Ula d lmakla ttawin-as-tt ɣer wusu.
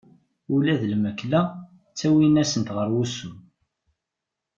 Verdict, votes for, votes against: rejected, 0, 2